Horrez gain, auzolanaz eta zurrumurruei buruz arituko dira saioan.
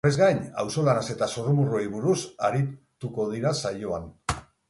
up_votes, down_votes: 0, 4